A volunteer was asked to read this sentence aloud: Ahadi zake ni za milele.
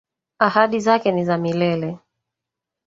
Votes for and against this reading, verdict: 1, 2, rejected